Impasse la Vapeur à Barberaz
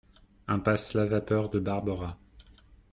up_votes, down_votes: 0, 2